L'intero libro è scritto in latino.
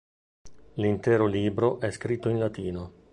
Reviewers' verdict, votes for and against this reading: accepted, 2, 0